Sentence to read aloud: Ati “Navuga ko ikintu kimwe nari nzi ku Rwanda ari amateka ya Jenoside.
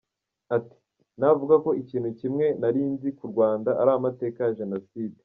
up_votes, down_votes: 2, 1